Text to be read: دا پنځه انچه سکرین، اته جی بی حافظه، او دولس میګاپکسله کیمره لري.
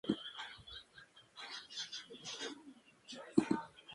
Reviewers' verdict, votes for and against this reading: rejected, 0, 2